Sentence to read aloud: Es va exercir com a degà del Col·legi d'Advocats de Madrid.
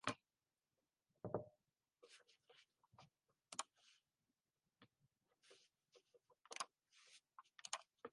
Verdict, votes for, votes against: rejected, 1, 3